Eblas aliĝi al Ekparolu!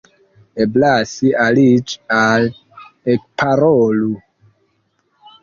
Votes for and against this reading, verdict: 0, 2, rejected